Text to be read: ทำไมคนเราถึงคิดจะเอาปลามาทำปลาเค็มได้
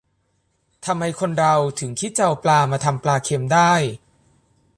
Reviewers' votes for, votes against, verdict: 2, 0, accepted